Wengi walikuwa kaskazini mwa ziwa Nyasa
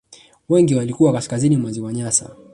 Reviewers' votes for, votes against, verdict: 1, 2, rejected